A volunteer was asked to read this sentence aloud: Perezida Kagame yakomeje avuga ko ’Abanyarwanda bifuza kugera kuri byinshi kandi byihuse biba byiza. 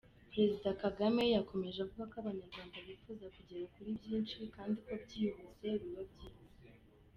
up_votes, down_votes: 3, 0